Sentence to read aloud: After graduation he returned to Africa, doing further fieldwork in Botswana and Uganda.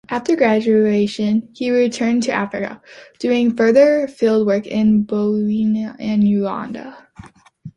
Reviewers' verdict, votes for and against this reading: rejected, 0, 2